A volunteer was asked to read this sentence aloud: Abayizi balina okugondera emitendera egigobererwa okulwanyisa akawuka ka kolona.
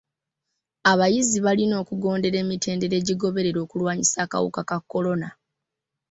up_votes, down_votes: 2, 1